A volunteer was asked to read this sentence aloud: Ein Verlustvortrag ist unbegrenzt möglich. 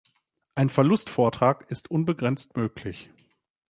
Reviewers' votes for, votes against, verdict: 2, 0, accepted